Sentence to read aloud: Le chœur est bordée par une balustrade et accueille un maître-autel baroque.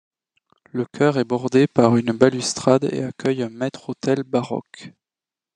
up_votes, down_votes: 2, 0